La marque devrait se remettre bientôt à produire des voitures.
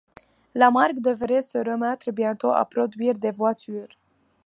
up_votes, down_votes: 2, 0